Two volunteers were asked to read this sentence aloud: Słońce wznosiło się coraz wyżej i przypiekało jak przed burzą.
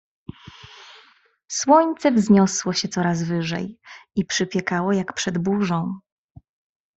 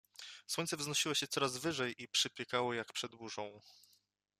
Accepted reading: second